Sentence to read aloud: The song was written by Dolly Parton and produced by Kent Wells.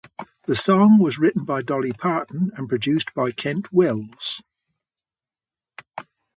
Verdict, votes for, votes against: accepted, 2, 0